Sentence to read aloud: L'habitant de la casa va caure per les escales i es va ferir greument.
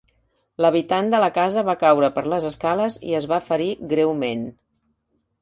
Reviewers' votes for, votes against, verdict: 3, 0, accepted